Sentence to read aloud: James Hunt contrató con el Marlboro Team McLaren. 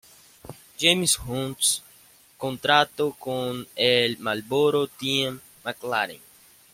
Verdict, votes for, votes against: accepted, 2, 0